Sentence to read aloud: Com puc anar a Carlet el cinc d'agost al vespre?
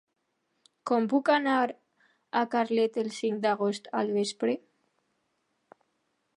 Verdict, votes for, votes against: accepted, 2, 0